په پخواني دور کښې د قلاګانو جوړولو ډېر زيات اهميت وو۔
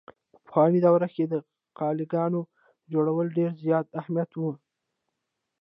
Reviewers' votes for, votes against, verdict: 2, 0, accepted